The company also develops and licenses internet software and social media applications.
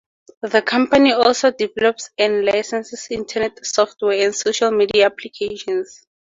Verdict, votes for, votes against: accepted, 2, 0